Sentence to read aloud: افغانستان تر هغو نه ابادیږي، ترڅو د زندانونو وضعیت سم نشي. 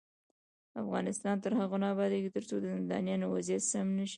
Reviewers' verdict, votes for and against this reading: rejected, 1, 2